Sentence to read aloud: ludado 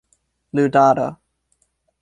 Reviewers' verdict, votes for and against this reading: accepted, 2, 0